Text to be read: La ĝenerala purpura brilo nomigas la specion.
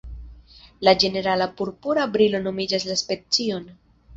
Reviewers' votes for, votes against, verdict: 0, 2, rejected